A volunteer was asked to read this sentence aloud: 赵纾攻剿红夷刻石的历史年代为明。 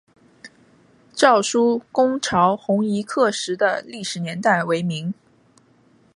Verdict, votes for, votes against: accepted, 3, 2